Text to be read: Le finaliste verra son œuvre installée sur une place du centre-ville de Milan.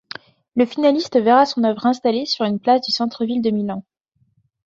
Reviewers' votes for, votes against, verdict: 2, 0, accepted